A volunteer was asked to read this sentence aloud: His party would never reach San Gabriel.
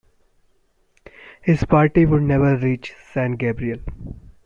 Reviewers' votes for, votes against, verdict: 1, 2, rejected